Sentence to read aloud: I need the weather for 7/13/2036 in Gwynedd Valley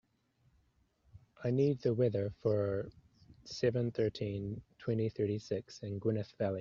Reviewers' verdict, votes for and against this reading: rejected, 0, 2